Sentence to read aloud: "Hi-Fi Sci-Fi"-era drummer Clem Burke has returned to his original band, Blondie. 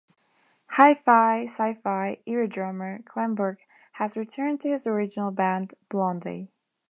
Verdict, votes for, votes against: accepted, 2, 0